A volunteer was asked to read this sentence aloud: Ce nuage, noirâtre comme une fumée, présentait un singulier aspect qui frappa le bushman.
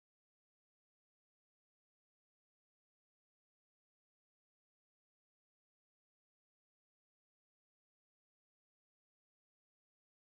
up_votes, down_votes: 1, 2